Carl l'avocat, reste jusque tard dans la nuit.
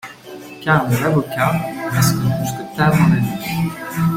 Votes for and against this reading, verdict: 0, 2, rejected